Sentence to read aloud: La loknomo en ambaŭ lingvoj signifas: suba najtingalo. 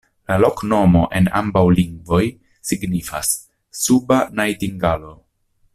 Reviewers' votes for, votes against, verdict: 1, 2, rejected